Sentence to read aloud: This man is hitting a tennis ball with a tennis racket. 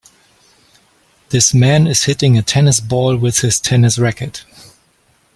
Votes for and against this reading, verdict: 1, 2, rejected